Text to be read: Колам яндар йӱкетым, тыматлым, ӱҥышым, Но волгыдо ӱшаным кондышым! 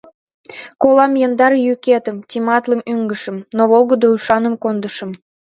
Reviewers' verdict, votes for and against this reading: rejected, 1, 2